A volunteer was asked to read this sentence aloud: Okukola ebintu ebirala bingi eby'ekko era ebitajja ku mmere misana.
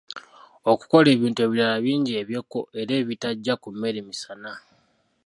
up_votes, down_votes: 2, 0